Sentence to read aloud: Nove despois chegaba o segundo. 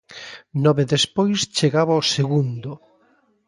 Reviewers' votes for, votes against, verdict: 2, 0, accepted